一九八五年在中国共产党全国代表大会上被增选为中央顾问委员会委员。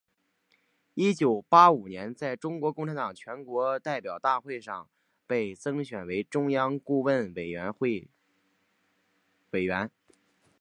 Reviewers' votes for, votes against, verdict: 2, 0, accepted